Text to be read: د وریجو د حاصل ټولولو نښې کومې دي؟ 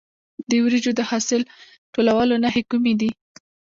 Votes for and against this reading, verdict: 1, 2, rejected